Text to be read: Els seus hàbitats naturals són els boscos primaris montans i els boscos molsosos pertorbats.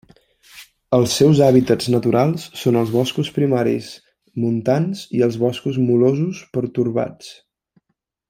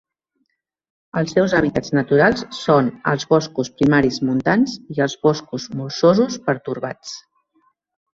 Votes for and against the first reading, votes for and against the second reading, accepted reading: 1, 2, 3, 1, second